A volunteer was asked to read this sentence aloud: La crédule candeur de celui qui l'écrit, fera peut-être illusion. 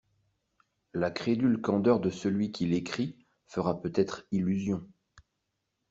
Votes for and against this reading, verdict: 2, 0, accepted